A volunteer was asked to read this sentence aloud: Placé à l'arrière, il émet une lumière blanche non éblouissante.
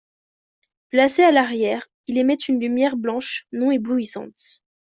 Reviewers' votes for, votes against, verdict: 2, 0, accepted